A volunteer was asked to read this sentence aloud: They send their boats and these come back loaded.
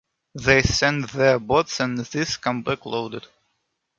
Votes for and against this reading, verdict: 2, 0, accepted